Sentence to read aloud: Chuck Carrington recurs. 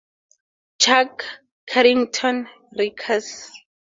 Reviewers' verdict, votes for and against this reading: accepted, 2, 0